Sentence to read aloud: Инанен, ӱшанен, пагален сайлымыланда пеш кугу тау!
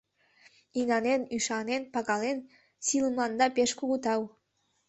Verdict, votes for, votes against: rejected, 1, 2